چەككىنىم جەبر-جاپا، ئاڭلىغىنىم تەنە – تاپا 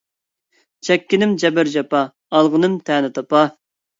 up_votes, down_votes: 1, 2